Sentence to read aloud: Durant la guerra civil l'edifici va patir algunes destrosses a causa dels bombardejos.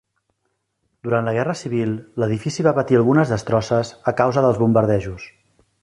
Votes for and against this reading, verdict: 4, 0, accepted